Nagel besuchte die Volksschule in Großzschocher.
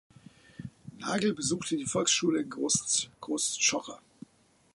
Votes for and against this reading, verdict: 0, 2, rejected